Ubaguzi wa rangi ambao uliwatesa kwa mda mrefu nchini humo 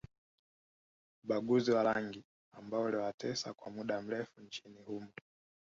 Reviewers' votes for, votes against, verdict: 2, 0, accepted